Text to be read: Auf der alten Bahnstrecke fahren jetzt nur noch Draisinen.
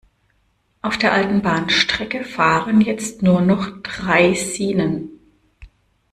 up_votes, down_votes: 1, 2